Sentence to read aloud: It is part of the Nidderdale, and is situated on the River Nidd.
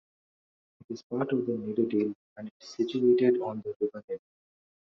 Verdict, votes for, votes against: rejected, 1, 2